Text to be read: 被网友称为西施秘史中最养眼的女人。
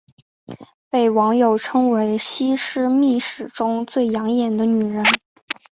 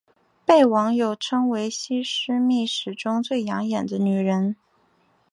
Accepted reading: first